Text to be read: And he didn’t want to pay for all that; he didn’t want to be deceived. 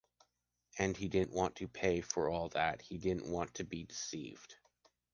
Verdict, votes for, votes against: accepted, 2, 0